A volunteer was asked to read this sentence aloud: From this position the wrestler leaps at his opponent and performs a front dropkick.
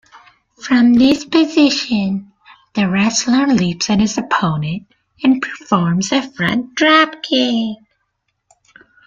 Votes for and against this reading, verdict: 2, 1, accepted